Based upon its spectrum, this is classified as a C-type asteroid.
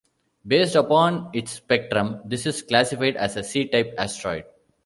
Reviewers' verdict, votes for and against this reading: accepted, 2, 0